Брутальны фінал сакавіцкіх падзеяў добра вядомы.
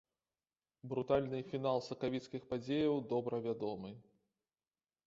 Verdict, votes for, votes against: accepted, 2, 0